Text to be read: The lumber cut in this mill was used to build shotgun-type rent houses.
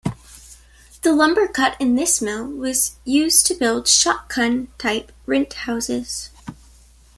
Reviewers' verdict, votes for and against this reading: accepted, 2, 0